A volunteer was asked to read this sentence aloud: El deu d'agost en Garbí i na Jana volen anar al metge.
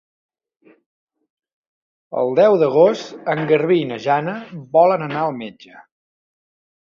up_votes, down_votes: 2, 0